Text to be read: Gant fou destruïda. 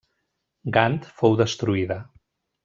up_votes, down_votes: 2, 0